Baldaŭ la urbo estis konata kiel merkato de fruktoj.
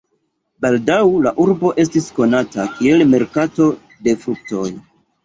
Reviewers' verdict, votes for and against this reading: accepted, 3, 2